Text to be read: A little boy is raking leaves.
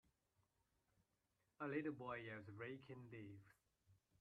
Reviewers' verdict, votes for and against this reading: accepted, 2, 0